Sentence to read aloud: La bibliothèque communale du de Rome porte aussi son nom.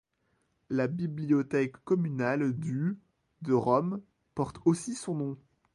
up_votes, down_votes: 2, 0